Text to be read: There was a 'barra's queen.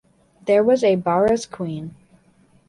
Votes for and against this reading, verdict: 2, 0, accepted